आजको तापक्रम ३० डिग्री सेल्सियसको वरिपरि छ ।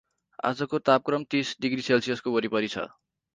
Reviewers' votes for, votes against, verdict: 0, 2, rejected